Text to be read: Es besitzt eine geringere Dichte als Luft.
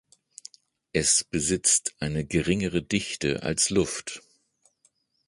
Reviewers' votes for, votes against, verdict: 2, 0, accepted